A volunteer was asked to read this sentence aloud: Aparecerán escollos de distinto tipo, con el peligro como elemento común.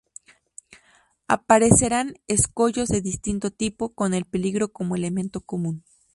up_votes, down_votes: 2, 0